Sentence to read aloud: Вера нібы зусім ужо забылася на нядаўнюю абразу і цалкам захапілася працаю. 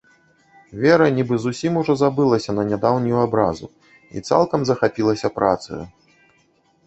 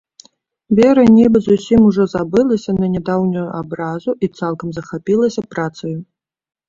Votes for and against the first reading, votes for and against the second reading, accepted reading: 1, 2, 2, 0, second